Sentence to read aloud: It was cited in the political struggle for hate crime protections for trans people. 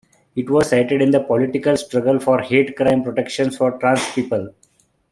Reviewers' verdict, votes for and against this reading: accepted, 3, 0